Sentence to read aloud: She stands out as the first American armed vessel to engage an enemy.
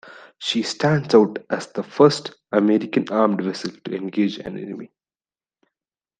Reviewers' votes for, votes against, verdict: 0, 2, rejected